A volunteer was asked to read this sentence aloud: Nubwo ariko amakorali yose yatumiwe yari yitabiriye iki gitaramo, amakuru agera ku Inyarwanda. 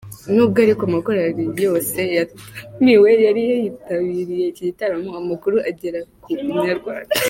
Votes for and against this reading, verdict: 0, 2, rejected